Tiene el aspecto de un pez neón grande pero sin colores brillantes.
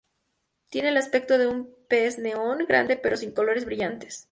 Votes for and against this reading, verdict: 2, 0, accepted